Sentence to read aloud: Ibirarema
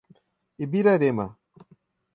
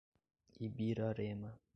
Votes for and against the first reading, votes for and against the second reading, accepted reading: 2, 0, 1, 2, first